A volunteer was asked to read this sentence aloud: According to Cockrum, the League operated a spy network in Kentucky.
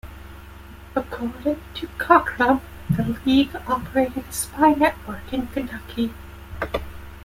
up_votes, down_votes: 1, 2